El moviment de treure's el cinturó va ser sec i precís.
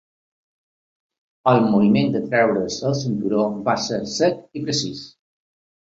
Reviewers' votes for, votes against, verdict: 2, 0, accepted